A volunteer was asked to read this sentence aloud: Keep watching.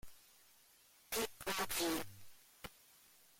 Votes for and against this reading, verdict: 0, 3, rejected